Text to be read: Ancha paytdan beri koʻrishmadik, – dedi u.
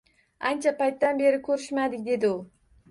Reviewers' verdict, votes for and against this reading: accepted, 2, 1